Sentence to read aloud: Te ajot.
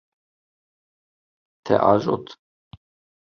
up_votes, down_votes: 2, 0